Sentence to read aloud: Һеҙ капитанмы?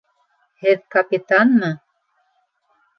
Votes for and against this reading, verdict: 2, 0, accepted